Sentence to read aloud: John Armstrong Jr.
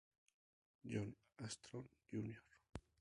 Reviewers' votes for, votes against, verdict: 2, 0, accepted